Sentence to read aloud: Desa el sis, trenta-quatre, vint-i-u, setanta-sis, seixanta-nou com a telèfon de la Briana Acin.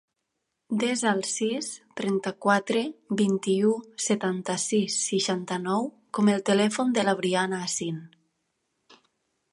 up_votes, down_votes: 1, 2